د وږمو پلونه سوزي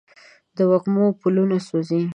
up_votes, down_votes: 2, 0